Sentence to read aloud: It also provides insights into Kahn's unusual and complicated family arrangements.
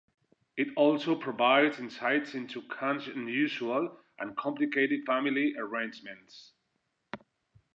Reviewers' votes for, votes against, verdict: 2, 0, accepted